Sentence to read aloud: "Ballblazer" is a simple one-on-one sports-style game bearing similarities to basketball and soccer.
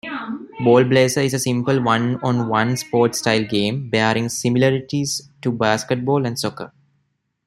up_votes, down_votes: 0, 2